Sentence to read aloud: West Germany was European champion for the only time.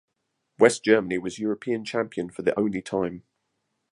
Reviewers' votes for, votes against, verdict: 0, 2, rejected